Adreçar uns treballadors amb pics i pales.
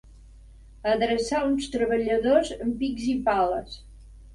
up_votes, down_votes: 3, 0